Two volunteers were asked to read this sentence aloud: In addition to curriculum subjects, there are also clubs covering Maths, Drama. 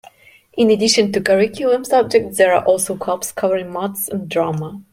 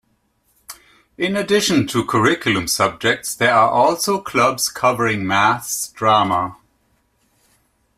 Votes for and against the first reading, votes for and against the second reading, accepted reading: 0, 2, 2, 0, second